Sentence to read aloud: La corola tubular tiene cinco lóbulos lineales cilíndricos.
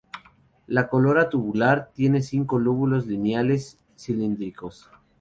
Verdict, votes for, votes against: rejected, 0, 2